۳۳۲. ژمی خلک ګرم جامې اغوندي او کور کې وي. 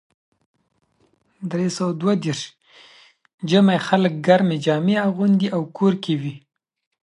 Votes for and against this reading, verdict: 0, 2, rejected